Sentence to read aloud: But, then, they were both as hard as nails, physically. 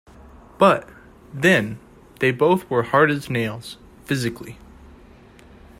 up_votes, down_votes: 0, 2